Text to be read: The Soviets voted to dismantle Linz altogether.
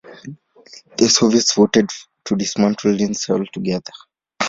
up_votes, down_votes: 1, 3